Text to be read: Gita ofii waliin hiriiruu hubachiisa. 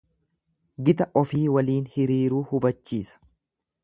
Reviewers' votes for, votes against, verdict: 2, 0, accepted